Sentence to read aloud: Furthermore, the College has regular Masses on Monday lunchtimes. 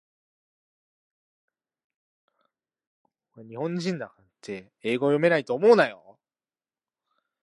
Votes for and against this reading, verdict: 0, 2, rejected